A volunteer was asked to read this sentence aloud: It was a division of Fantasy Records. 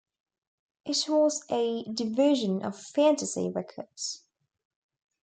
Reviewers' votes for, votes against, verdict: 2, 0, accepted